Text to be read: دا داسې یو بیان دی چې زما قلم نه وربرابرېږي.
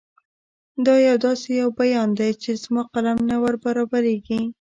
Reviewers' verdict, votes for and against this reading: rejected, 0, 2